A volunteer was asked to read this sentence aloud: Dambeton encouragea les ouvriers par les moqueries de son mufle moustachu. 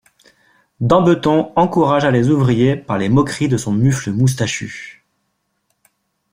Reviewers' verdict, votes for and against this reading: accepted, 2, 0